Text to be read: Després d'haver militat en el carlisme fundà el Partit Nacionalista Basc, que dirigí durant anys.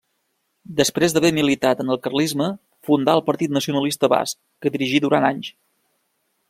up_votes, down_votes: 2, 0